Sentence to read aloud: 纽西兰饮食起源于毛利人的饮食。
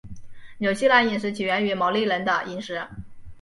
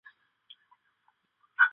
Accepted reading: first